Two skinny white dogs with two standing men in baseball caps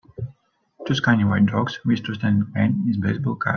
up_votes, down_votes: 0, 2